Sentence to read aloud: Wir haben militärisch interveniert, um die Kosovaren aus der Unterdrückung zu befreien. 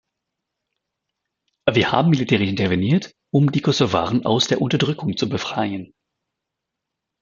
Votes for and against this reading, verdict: 1, 2, rejected